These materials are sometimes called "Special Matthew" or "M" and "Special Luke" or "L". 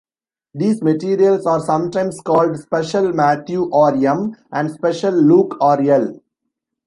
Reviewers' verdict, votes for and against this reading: rejected, 1, 2